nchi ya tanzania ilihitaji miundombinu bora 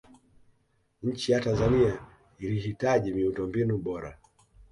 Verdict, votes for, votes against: accepted, 2, 0